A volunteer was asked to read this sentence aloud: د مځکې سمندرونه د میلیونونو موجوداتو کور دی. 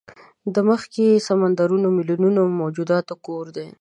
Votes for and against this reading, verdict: 0, 2, rejected